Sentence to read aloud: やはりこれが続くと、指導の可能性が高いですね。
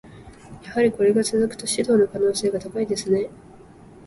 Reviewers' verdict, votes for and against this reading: accepted, 2, 0